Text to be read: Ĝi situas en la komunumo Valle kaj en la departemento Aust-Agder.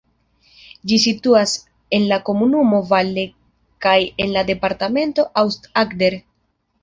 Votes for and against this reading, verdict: 0, 2, rejected